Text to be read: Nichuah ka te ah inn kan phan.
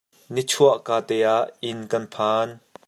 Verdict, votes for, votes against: accepted, 2, 0